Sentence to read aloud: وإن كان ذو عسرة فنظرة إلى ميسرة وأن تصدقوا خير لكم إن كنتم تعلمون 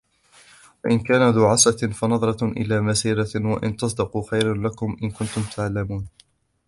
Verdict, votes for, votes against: rejected, 0, 2